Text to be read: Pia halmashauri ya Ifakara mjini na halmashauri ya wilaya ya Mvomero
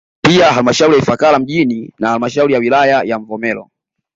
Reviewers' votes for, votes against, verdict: 2, 0, accepted